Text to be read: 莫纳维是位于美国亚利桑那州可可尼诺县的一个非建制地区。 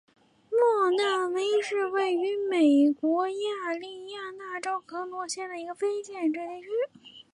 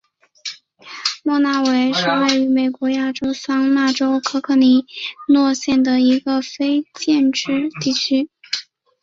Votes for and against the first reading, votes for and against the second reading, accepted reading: 2, 3, 3, 0, second